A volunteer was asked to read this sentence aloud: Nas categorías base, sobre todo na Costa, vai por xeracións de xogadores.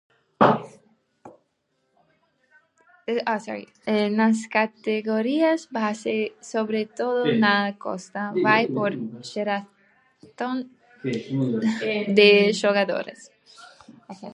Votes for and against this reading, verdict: 0, 2, rejected